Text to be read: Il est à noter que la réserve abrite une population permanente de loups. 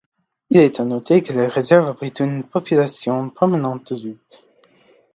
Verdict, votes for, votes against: accepted, 2, 1